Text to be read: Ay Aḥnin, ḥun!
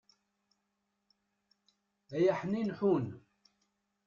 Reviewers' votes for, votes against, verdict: 1, 2, rejected